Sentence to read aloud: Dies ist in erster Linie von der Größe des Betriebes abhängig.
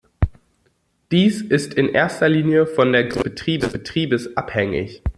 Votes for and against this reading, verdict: 0, 2, rejected